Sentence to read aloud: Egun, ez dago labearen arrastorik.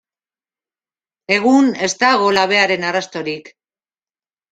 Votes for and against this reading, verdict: 2, 1, accepted